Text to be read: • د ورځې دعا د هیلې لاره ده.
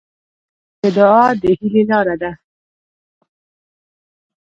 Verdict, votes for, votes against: rejected, 0, 2